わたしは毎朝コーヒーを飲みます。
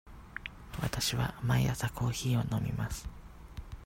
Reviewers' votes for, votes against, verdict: 0, 2, rejected